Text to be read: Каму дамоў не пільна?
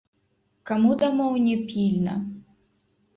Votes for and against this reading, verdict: 0, 2, rejected